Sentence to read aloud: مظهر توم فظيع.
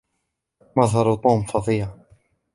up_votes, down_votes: 2, 1